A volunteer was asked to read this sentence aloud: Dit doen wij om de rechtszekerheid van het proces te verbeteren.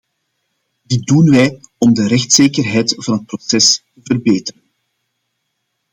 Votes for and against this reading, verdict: 0, 2, rejected